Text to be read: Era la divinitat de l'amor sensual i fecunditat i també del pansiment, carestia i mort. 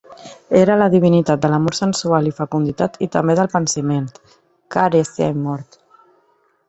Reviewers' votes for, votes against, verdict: 1, 2, rejected